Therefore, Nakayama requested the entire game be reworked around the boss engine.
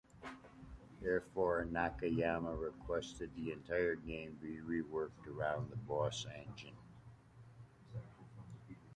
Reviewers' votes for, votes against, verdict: 2, 0, accepted